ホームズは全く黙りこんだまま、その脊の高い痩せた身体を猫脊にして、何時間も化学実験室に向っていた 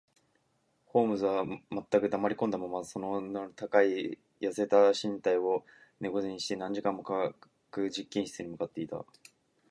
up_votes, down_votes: 1, 2